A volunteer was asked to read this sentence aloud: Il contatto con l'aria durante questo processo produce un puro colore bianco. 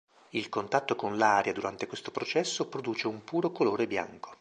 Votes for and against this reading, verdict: 2, 0, accepted